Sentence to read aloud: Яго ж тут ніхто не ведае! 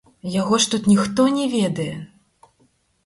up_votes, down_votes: 2, 4